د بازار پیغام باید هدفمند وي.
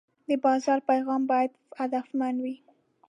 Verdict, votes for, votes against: accepted, 2, 0